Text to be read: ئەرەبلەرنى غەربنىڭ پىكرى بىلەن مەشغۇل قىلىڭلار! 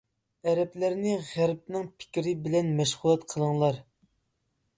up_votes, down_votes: 1, 2